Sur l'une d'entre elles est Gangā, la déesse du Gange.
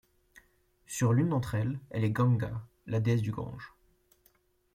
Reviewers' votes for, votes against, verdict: 0, 2, rejected